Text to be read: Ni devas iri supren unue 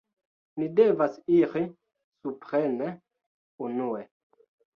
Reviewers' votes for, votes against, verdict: 0, 2, rejected